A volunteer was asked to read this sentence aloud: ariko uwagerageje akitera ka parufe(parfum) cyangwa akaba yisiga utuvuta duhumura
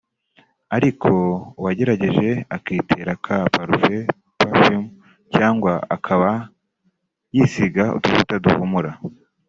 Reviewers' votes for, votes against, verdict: 2, 0, accepted